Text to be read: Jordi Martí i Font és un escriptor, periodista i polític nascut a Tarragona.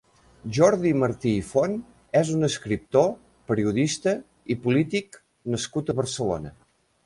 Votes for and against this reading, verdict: 0, 3, rejected